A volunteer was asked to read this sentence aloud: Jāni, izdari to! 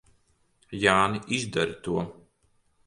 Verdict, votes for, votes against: accepted, 3, 0